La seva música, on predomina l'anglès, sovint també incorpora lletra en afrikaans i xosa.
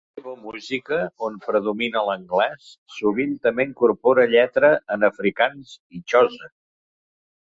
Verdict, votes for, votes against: rejected, 0, 2